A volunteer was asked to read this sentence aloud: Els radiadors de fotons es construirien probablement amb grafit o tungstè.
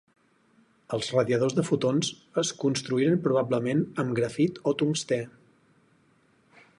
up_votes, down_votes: 0, 4